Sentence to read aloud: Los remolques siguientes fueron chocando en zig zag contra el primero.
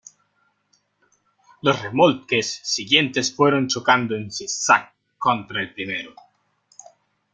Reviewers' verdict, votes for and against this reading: accepted, 2, 0